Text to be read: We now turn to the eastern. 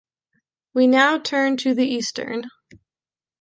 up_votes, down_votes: 2, 0